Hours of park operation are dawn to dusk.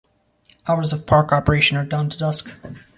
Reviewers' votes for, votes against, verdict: 2, 0, accepted